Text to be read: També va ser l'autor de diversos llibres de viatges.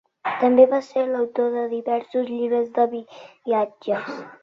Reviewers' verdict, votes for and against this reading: rejected, 0, 2